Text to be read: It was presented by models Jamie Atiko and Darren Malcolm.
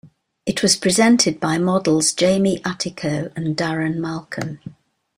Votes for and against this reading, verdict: 2, 0, accepted